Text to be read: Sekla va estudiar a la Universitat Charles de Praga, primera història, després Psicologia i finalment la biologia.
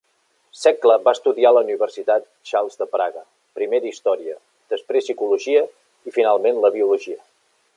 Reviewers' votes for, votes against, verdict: 3, 0, accepted